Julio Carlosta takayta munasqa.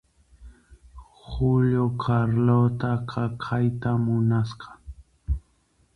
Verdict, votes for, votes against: rejected, 1, 2